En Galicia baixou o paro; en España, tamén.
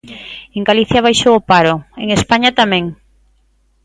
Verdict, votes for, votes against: accepted, 2, 0